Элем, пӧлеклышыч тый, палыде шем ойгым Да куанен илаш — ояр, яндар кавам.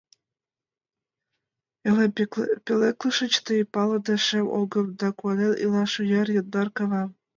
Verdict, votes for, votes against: rejected, 0, 7